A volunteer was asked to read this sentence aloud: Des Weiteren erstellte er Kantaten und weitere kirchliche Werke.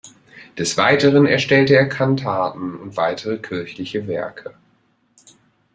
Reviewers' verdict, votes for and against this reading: accepted, 2, 0